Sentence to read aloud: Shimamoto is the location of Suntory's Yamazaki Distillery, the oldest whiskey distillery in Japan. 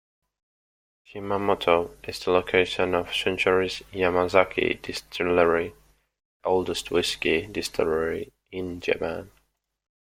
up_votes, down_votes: 0, 2